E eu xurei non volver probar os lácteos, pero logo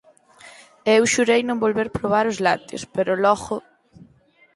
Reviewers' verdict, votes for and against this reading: accepted, 4, 0